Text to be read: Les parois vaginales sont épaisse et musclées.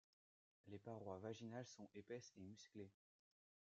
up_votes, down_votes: 2, 0